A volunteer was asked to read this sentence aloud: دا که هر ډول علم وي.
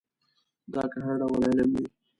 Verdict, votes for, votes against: rejected, 1, 2